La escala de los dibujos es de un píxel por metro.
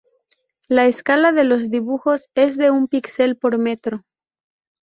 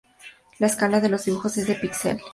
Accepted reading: first